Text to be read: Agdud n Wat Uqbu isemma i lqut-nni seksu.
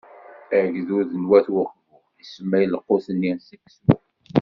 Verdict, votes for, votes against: rejected, 0, 2